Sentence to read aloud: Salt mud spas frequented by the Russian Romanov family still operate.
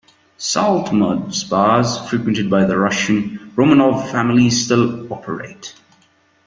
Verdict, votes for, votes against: accepted, 2, 0